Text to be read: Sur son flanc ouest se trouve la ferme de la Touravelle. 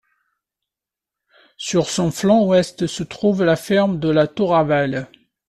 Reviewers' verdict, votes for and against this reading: accepted, 2, 0